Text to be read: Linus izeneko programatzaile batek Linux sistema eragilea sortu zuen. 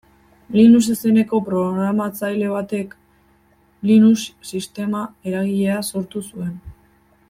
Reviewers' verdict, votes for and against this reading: accepted, 2, 0